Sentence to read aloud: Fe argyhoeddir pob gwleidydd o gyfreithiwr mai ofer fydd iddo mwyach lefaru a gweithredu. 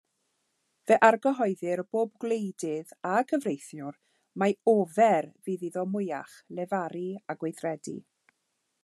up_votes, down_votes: 1, 2